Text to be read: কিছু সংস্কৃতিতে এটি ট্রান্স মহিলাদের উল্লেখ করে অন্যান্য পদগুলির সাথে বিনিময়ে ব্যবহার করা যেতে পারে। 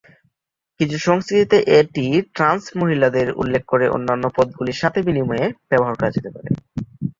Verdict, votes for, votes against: accepted, 3, 2